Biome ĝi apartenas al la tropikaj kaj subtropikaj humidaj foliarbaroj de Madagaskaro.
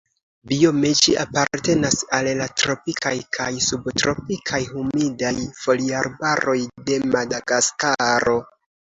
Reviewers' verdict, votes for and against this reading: accepted, 2, 1